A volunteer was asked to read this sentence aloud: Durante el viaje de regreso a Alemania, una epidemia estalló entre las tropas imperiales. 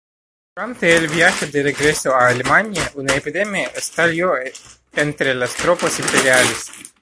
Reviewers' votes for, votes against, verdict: 0, 2, rejected